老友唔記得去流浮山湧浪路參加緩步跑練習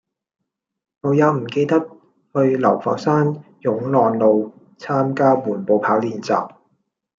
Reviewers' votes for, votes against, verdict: 1, 2, rejected